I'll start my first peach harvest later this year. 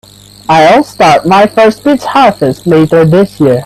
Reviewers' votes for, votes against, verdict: 1, 2, rejected